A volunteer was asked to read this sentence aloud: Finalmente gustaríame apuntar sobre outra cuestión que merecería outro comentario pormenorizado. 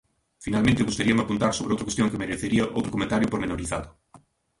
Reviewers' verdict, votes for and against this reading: rejected, 1, 2